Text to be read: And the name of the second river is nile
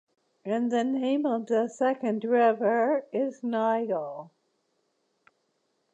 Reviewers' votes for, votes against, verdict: 2, 0, accepted